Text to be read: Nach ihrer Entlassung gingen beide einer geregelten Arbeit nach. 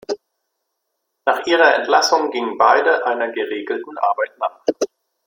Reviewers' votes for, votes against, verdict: 0, 2, rejected